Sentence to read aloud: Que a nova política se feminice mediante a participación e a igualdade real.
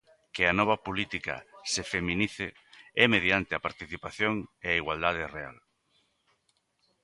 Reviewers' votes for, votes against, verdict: 0, 2, rejected